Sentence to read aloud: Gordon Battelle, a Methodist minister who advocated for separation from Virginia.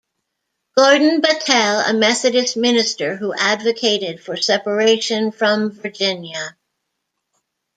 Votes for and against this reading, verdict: 2, 0, accepted